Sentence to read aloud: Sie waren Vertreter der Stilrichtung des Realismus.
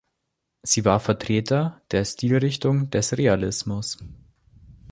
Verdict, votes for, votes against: rejected, 0, 3